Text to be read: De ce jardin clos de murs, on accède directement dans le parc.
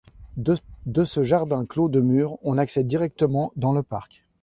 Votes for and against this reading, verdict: 1, 2, rejected